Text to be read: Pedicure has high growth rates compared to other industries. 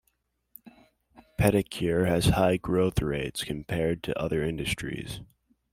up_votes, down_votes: 2, 0